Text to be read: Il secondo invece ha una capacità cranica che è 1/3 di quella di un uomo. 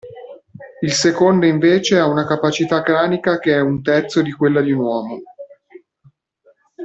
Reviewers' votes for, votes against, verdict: 0, 2, rejected